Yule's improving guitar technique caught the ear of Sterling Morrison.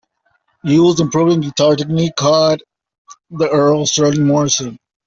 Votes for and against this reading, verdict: 0, 2, rejected